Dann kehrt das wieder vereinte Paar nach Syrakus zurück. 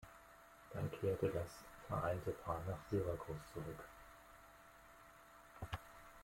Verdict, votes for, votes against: rejected, 1, 2